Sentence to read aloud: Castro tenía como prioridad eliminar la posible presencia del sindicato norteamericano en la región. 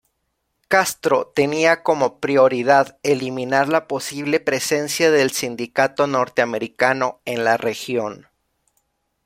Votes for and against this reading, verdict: 1, 2, rejected